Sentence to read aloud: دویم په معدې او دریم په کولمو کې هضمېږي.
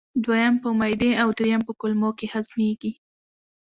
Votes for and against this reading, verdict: 2, 0, accepted